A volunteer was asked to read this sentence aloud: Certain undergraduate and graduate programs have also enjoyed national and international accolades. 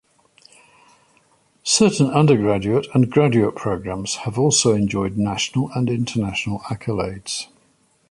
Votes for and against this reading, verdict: 2, 0, accepted